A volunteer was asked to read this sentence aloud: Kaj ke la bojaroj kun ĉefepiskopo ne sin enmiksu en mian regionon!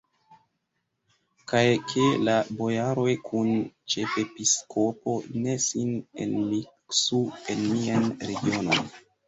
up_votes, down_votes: 0, 2